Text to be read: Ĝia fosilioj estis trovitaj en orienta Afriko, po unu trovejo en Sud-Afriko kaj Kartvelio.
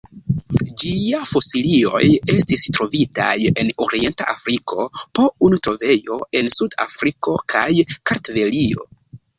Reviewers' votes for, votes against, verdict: 2, 1, accepted